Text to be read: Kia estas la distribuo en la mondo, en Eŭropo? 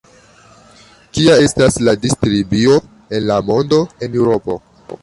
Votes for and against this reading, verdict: 1, 2, rejected